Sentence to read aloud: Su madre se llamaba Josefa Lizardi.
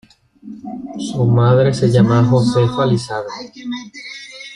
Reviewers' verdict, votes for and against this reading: rejected, 1, 3